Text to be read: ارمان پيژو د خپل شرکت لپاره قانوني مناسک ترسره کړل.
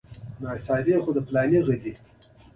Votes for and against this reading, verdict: 0, 2, rejected